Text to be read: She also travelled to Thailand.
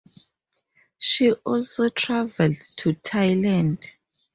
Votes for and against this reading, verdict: 4, 0, accepted